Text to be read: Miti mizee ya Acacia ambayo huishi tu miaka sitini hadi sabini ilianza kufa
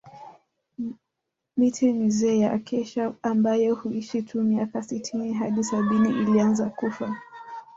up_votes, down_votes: 0, 2